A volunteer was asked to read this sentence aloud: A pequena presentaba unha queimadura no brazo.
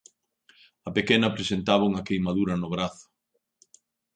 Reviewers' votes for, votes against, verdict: 2, 0, accepted